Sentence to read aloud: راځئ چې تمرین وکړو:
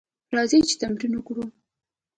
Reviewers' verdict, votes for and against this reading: accepted, 2, 0